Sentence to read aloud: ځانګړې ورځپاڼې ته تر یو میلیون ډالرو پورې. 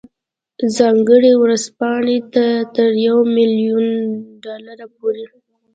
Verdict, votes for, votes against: accepted, 2, 0